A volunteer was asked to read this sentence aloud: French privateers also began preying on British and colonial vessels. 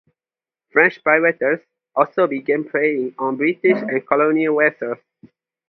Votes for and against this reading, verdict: 0, 2, rejected